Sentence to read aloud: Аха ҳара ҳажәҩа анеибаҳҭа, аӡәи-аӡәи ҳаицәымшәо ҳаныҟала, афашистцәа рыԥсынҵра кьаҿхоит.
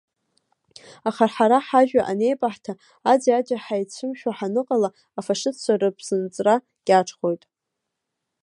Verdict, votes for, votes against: accepted, 2, 1